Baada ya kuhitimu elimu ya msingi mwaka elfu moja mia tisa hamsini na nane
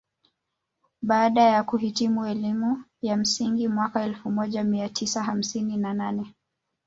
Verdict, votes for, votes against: accepted, 3, 0